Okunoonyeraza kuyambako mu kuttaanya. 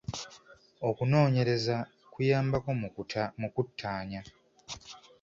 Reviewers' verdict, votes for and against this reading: rejected, 0, 2